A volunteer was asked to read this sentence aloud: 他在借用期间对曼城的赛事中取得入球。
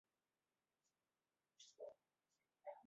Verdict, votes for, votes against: rejected, 1, 3